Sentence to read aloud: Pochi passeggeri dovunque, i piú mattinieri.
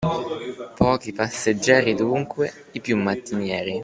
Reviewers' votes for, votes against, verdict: 1, 2, rejected